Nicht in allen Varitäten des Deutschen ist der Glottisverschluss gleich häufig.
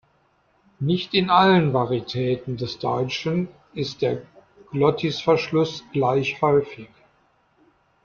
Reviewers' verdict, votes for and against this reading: accepted, 2, 0